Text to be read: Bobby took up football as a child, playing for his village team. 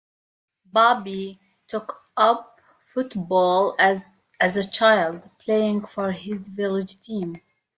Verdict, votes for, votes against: rejected, 0, 2